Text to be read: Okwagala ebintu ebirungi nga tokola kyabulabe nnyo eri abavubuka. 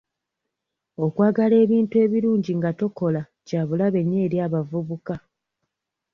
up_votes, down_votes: 2, 0